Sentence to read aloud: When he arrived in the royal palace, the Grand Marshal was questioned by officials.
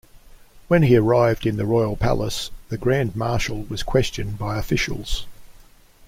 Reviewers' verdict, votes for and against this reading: accepted, 2, 0